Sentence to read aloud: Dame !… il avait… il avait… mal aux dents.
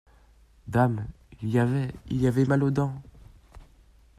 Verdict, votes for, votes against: rejected, 0, 2